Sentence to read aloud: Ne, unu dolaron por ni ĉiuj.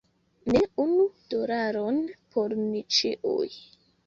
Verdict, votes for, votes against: accepted, 2, 0